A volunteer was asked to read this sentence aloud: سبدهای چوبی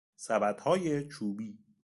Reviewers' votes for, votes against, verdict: 2, 0, accepted